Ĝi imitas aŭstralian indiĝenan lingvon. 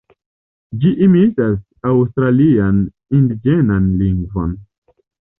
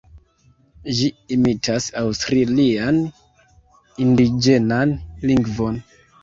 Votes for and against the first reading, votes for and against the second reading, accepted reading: 2, 0, 1, 2, first